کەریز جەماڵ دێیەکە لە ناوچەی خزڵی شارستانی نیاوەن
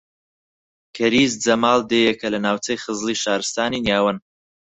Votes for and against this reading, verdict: 4, 2, accepted